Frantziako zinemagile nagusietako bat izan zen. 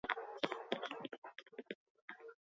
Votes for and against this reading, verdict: 0, 8, rejected